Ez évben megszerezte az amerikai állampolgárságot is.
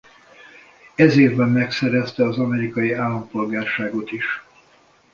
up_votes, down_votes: 2, 0